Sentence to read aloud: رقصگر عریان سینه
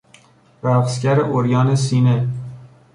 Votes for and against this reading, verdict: 1, 2, rejected